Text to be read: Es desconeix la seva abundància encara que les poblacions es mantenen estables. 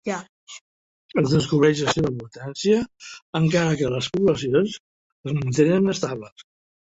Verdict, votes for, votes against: rejected, 0, 2